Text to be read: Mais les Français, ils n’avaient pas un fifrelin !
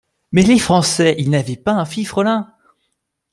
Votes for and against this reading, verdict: 2, 0, accepted